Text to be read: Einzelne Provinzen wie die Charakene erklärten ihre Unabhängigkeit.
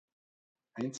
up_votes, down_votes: 0, 2